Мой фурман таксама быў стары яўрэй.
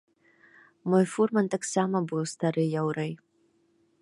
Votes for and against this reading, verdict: 2, 0, accepted